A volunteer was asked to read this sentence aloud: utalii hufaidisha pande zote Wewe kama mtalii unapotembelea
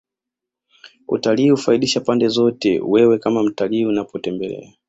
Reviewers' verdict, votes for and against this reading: accepted, 3, 2